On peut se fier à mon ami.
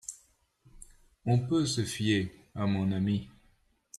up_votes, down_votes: 2, 0